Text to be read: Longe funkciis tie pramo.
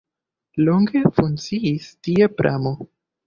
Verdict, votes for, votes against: rejected, 1, 2